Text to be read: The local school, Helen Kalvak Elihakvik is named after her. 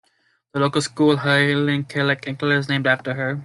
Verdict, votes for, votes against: rejected, 1, 2